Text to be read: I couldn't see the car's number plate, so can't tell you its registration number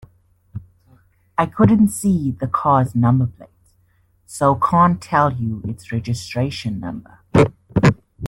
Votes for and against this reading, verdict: 2, 0, accepted